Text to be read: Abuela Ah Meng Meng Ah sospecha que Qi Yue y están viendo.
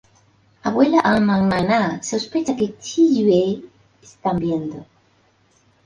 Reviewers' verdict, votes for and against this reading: rejected, 0, 2